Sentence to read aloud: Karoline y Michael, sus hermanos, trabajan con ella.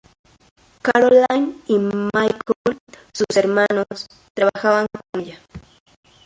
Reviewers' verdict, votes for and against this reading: rejected, 0, 2